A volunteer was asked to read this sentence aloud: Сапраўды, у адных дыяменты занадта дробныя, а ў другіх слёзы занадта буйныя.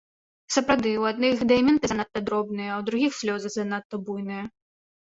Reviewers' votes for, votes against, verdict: 0, 2, rejected